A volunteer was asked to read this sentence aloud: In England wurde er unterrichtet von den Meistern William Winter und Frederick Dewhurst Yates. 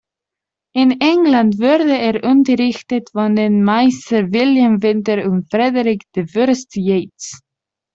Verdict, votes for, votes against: rejected, 0, 2